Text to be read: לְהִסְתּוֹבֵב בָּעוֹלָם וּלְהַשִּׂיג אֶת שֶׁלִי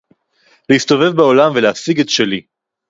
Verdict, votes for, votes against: rejected, 2, 2